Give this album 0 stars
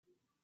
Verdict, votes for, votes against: rejected, 0, 2